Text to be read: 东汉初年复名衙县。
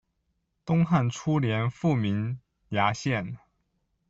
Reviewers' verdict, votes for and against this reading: accepted, 2, 0